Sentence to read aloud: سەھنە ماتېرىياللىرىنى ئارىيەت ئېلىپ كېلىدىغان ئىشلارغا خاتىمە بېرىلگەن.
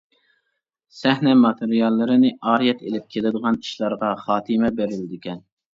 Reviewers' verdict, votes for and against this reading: rejected, 0, 2